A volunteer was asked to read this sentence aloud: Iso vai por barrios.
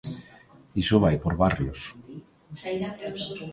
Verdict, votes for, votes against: rejected, 1, 2